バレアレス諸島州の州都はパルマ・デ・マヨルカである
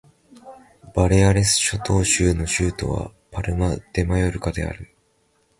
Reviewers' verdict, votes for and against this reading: accepted, 5, 0